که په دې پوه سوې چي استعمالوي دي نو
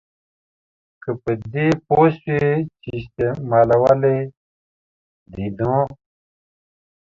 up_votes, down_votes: 1, 2